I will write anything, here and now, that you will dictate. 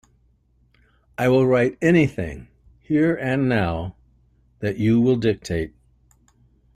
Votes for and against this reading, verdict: 2, 0, accepted